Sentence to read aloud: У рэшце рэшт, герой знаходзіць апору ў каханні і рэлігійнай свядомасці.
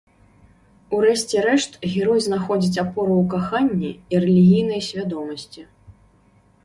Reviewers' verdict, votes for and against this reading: accepted, 2, 0